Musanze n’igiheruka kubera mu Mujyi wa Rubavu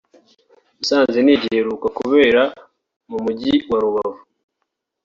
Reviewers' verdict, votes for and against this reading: rejected, 0, 2